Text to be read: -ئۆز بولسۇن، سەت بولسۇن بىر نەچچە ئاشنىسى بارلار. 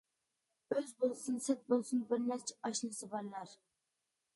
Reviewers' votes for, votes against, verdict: 2, 0, accepted